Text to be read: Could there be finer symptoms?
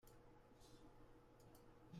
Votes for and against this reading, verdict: 0, 2, rejected